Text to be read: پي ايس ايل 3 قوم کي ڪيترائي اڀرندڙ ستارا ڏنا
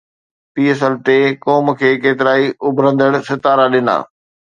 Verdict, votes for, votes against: rejected, 0, 2